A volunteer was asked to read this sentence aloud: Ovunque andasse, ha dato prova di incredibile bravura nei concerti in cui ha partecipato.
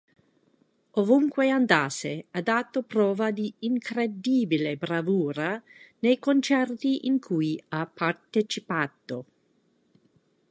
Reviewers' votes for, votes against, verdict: 2, 0, accepted